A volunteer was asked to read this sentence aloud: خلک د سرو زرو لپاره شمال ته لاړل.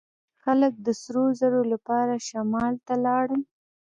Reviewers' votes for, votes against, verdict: 2, 0, accepted